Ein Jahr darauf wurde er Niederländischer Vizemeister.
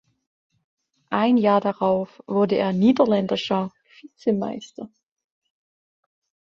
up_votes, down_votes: 0, 2